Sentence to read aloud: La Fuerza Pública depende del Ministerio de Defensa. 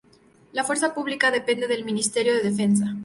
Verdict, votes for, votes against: accepted, 2, 0